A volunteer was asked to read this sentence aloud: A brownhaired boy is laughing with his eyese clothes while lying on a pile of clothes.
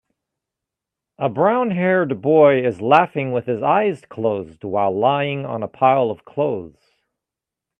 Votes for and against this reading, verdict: 1, 2, rejected